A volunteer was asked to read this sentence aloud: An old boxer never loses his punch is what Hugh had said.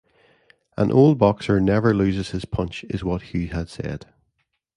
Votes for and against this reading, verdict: 2, 0, accepted